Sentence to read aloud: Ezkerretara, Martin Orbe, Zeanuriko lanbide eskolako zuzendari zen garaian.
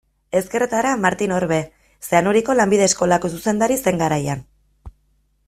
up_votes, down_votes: 2, 0